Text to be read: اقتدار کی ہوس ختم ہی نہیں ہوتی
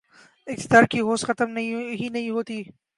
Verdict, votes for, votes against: rejected, 3, 4